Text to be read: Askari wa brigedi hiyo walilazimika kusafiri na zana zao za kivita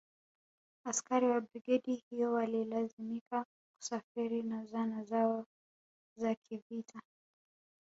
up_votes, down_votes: 1, 2